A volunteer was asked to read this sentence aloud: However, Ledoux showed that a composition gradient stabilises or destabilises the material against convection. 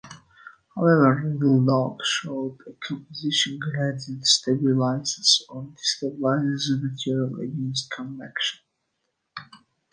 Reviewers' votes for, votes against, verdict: 1, 2, rejected